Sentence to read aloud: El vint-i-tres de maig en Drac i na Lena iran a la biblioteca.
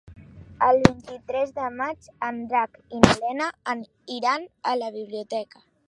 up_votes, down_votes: 0, 2